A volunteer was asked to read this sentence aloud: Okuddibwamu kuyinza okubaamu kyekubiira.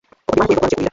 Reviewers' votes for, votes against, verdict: 0, 2, rejected